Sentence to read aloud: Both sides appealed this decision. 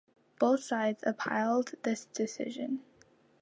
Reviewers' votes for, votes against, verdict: 1, 2, rejected